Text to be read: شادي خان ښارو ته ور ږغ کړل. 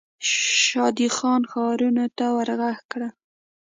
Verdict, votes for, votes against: rejected, 0, 2